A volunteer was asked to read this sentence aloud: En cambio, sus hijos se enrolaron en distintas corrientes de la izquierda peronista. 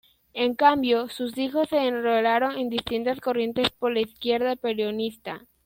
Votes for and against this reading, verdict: 0, 2, rejected